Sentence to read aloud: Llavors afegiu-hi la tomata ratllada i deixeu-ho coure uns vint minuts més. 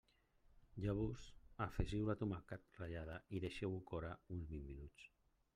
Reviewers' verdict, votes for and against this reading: rejected, 0, 2